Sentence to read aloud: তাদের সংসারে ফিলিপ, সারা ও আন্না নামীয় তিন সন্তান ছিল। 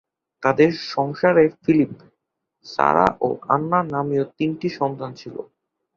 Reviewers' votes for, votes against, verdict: 4, 2, accepted